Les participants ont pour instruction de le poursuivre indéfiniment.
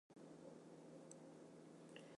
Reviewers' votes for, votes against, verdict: 0, 2, rejected